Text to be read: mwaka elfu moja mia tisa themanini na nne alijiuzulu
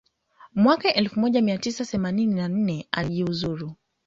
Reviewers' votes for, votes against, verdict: 2, 0, accepted